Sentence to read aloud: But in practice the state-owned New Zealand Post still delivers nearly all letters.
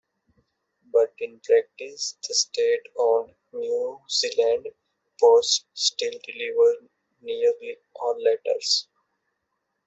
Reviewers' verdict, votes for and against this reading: rejected, 0, 2